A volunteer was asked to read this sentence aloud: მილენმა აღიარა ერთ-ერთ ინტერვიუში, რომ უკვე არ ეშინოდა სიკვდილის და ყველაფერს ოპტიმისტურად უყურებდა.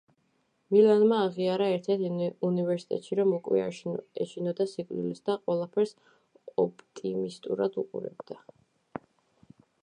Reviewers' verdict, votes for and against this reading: accepted, 2, 1